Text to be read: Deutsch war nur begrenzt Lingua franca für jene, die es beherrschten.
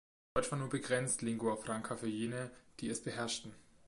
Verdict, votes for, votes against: rejected, 1, 2